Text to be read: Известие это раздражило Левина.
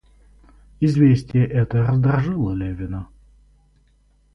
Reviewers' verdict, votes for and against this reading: rejected, 2, 2